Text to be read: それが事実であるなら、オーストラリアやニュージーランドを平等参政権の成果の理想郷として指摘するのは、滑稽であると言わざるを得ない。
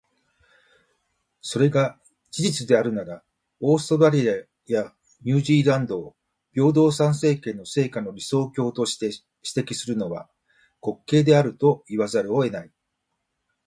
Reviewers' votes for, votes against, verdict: 2, 1, accepted